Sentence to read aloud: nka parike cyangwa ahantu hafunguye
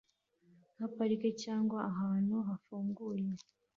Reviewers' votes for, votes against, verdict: 2, 0, accepted